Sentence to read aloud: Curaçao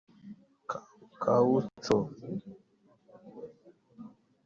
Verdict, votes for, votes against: rejected, 0, 2